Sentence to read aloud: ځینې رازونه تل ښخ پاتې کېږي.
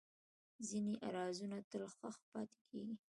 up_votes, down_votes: 2, 1